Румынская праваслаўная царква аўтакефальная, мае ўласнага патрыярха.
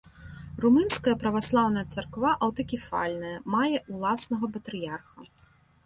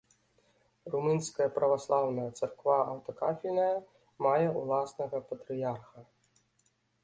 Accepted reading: first